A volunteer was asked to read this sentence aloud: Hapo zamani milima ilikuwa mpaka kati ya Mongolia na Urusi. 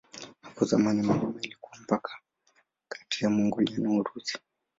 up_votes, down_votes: 3, 7